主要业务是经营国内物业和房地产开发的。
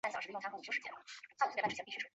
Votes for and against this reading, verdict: 0, 2, rejected